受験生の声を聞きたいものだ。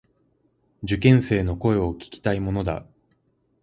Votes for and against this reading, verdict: 2, 4, rejected